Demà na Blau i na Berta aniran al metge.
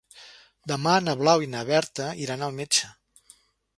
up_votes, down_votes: 0, 2